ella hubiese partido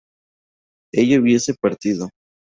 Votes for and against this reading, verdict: 0, 2, rejected